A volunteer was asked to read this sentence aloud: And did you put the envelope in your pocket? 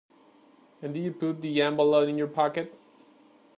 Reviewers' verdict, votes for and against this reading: rejected, 1, 2